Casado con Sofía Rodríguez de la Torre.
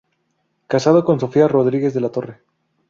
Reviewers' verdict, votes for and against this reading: rejected, 0, 2